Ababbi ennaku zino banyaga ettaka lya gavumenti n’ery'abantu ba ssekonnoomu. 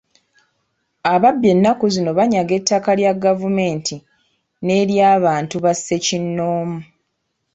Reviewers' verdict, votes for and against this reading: rejected, 1, 2